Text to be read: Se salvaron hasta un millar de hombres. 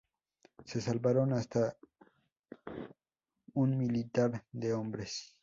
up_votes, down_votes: 0, 2